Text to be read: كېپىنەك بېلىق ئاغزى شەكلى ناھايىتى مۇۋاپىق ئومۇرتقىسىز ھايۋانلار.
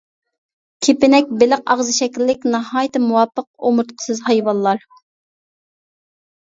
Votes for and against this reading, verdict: 0, 2, rejected